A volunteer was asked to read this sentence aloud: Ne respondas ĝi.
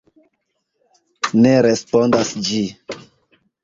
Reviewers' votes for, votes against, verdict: 2, 0, accepted